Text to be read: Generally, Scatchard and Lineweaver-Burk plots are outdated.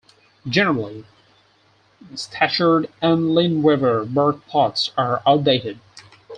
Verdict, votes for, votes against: accepted, 4, 2